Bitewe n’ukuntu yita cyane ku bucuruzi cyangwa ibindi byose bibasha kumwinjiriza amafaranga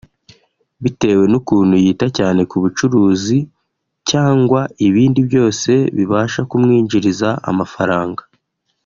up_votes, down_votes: 0, 2